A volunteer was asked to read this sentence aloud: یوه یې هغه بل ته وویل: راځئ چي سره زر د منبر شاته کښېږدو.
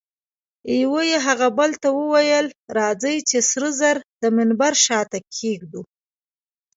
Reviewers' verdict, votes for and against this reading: accepted, 2, 0